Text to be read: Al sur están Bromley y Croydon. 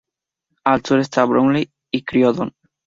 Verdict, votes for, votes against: accepted, 2, 0